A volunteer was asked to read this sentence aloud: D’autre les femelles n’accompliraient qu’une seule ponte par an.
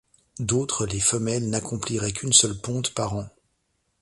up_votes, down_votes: 2, 0